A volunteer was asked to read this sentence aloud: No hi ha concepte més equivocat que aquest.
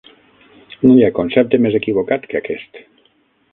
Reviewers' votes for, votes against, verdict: 3, 6, rejected